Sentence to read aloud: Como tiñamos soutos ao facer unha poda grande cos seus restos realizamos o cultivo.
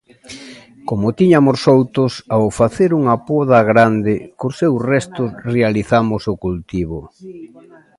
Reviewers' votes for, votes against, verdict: 0, 2, rejected